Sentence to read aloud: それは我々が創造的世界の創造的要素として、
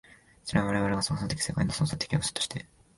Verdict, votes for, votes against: rejected, 1, 2